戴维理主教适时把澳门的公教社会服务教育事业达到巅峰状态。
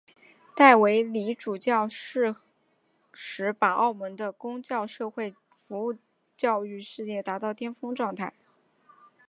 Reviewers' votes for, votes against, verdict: 2, 0, accepted